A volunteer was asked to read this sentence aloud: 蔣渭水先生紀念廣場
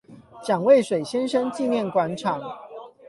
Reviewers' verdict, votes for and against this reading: rejected, 4, 8